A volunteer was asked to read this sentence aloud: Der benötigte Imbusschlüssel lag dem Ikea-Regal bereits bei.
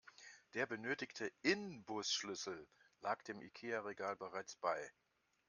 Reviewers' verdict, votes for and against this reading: rejected, 0, 2